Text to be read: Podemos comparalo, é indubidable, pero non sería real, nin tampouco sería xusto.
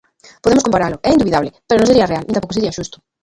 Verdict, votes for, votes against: rejected, 0, 2